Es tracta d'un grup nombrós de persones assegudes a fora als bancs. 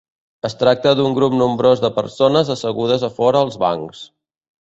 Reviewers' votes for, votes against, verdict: 3, 0, accepted